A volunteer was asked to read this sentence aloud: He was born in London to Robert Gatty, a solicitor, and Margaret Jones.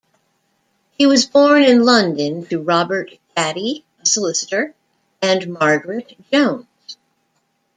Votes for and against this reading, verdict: 1, 2, rejected